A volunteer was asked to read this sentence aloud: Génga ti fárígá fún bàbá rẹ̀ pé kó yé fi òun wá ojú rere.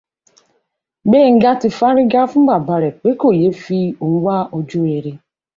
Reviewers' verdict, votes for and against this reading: rejected, 1, 2